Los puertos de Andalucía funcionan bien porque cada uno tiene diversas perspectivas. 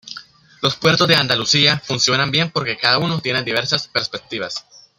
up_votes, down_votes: 2, 0